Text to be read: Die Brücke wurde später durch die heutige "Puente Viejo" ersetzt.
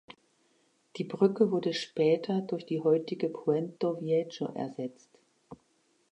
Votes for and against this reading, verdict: 0, 2, rejected